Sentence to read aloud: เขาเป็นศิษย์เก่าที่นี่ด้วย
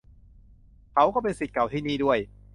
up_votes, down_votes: 0, 2